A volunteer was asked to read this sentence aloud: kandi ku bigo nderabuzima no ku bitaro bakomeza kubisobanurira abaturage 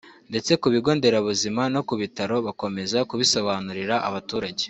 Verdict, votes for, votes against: rejected, 1, 2